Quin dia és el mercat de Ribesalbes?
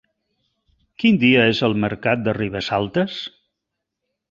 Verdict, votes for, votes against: rejected, 1, 2